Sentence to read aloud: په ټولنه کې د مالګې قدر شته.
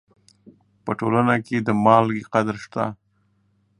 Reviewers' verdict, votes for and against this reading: accepted, 2, 0